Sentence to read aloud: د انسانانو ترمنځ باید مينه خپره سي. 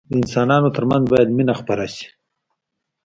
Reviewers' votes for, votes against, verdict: 2, 0, accepted